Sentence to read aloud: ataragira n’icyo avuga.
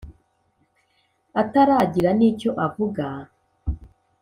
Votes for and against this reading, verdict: 4, 0, accepted